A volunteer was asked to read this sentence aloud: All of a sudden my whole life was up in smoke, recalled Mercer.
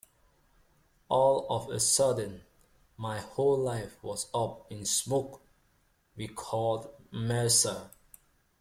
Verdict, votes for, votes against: accepted, 2, 1